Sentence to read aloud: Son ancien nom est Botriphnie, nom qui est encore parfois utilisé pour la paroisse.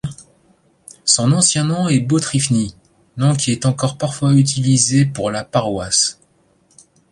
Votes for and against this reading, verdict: 2, 0, accepted